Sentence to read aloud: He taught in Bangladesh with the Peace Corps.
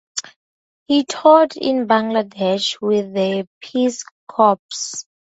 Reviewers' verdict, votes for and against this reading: accepted, 2, 0